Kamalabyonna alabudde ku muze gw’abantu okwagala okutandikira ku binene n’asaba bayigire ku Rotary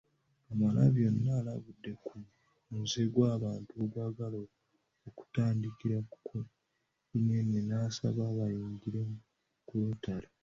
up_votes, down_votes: 1, 2